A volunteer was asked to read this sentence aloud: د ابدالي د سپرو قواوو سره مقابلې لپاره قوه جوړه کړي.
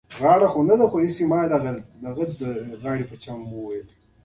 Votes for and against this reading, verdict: 1, 2, rejected